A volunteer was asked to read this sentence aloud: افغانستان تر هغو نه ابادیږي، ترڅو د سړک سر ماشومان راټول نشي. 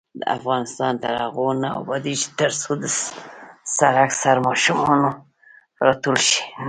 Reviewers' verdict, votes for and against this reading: rejected, 1, 2